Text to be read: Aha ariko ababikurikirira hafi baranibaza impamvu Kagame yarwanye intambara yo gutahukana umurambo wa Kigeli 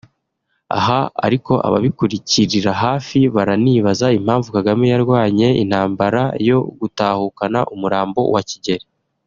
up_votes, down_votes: 2, 0